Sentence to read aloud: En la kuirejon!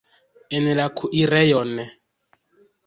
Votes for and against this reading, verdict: 2, 0, accepted